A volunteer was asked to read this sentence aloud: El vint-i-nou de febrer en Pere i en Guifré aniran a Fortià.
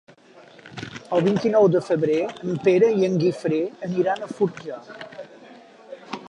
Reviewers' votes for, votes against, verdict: 5, 4, accepted